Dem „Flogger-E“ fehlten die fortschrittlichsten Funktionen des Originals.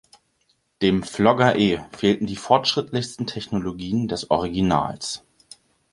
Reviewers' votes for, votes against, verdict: 0, 2, rejected